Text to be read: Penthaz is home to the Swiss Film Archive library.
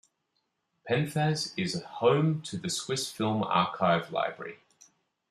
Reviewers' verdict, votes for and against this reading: rejected, 0, 2